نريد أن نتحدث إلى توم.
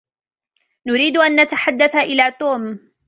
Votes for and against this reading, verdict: 2, 0, accepted